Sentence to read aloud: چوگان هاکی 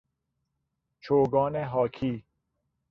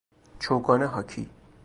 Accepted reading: first